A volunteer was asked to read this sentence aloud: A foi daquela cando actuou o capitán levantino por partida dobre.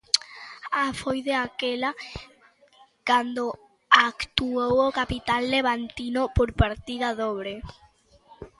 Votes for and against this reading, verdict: 1, 2, rejected